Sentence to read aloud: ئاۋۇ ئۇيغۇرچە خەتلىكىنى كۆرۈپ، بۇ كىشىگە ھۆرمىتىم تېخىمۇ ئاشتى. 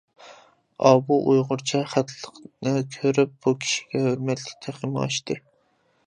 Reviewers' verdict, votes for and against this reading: rejected, 0, 2